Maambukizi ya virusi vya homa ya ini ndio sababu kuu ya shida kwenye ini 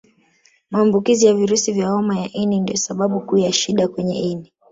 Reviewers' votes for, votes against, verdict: 2, 0, accepted